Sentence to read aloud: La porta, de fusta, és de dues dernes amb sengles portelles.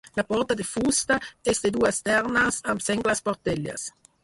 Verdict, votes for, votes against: rejected, 2, 4